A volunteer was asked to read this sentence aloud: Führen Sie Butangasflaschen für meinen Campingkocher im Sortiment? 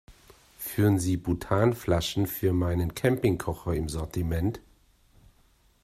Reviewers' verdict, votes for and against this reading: rejected, 0, 2